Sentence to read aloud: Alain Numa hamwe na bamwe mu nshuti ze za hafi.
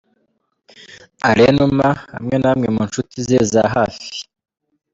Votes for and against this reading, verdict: 2, 1, accepted